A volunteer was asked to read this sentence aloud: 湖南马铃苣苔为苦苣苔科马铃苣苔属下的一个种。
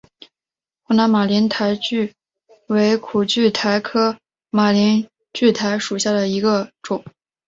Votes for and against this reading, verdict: 7, 1, accepted